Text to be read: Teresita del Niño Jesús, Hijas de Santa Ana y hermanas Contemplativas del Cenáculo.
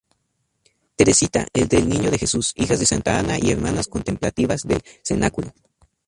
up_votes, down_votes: 0, 2